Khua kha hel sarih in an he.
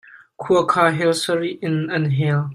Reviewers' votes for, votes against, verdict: 1, 2, rejected